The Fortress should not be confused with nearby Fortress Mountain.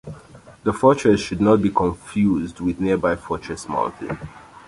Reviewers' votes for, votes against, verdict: 2, 1, accepted